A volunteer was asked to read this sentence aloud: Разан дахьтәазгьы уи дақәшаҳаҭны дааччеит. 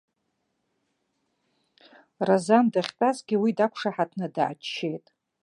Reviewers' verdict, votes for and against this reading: accepted, 2, 0